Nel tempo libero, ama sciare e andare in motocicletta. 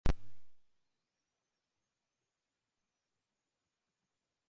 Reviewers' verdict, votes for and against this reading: rejected, 0, 2